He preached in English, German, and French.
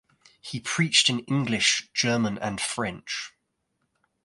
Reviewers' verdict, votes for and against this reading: rejected, 0, 2